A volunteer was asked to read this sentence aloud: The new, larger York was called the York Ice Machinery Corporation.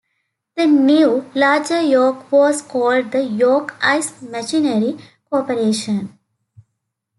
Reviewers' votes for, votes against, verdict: 2, 0, accepted